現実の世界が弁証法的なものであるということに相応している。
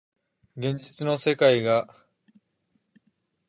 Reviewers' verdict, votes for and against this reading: rejected, 0, 2